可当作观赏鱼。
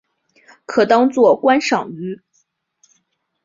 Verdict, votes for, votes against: accepted, 2, 0